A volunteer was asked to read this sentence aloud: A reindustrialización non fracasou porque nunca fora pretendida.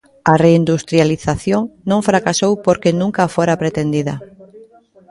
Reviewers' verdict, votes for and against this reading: rejected, 1, 2